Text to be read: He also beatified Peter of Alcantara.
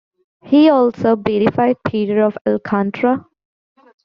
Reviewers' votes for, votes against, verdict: 1, 2, rejected